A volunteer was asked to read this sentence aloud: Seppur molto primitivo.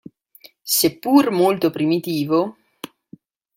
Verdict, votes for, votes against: accepted, 2, 0